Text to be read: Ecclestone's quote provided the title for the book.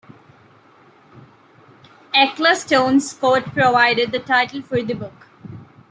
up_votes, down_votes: 2, 1